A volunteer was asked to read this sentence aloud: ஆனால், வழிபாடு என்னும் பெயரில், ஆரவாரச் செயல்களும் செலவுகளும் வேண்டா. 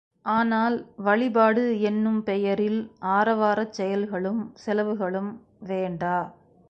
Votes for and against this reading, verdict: 2, 0, accepted